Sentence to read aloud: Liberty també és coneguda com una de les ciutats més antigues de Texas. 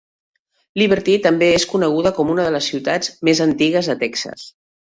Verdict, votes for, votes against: accepted, 2, 0